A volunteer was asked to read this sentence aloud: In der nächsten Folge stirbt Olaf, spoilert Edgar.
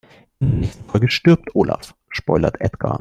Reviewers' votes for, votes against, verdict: 0, 2, rejected